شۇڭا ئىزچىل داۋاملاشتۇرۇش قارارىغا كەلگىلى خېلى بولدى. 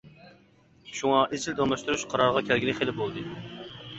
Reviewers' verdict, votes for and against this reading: rejected, 1, 2